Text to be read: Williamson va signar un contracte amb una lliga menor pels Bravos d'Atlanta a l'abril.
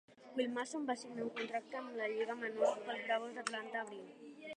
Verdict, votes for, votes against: rejected, 0, 6